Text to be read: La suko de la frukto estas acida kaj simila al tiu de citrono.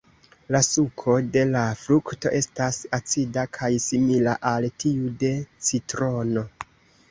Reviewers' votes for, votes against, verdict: 2, 0, accepted